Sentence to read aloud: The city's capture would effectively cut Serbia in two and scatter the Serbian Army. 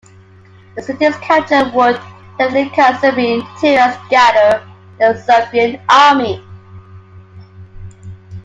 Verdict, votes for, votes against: rejected, 0, 2